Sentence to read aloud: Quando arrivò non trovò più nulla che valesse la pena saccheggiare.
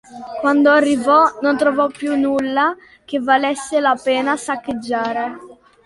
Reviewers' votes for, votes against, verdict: 2, 0, accepted